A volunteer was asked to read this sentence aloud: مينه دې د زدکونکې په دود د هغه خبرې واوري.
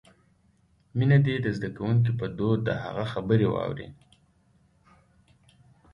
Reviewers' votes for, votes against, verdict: 2, 1, accepted